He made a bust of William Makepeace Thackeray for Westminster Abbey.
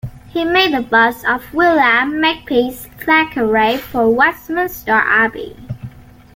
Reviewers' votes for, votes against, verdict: 1, 2, rejected